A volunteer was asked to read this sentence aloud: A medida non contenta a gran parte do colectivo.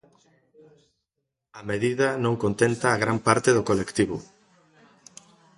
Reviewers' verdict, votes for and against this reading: accepted, 2, 0